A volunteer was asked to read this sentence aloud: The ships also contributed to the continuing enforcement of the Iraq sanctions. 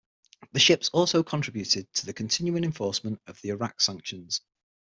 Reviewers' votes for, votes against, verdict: 6, 3, accepted